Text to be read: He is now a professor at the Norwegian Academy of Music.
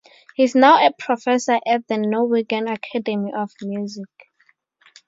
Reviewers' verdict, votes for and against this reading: rejected, 2, 2